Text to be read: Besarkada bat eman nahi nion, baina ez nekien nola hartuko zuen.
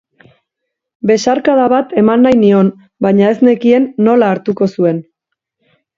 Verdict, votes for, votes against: accepted, 2, 0